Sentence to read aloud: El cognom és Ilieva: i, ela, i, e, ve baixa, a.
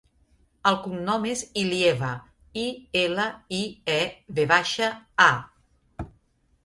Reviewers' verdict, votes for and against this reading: accepted, 3, 0